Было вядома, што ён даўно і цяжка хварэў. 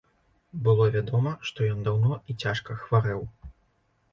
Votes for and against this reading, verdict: 2, 0, accepted